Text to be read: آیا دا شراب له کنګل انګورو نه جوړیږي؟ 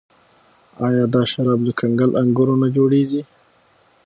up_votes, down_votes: 6, 0